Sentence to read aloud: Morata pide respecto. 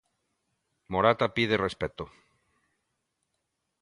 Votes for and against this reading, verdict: 2, 0, accepted